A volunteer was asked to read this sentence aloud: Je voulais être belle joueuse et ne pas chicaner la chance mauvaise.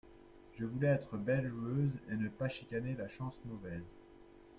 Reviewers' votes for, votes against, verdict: 2, 1, accepted